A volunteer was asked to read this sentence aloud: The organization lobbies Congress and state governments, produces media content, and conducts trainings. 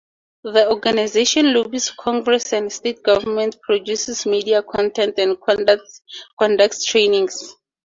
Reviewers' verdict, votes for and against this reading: rejected, 0, 2